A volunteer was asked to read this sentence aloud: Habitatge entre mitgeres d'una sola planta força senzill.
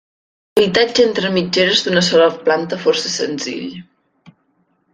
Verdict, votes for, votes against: rejected, 2, 3